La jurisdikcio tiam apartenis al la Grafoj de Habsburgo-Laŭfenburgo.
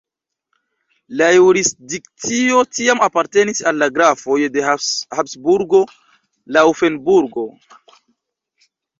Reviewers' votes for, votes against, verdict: 0, 2, rejected